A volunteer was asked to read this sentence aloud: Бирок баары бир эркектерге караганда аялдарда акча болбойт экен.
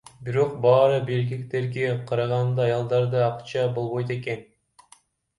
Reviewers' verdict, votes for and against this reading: rejected, 1, 2